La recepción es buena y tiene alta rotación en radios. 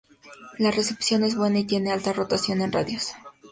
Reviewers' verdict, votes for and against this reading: accepted, 2, 0